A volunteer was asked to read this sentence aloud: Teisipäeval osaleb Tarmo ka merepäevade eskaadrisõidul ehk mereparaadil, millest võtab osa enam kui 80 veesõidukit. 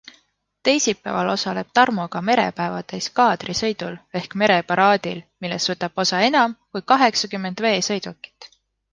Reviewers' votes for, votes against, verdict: 0, 2, rejected